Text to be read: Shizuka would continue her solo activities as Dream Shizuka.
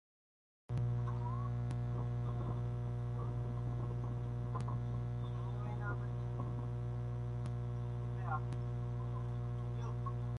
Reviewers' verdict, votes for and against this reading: rejected, 0, 3